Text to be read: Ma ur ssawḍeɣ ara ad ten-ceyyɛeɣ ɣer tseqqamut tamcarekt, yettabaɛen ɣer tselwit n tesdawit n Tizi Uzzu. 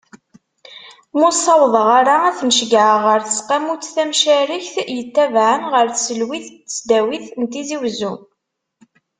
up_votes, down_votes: 2, 0